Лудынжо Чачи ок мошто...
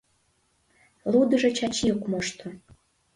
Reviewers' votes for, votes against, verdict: 1, 2, rejected